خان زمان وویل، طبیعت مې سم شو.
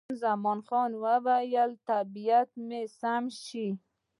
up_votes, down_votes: 1, 2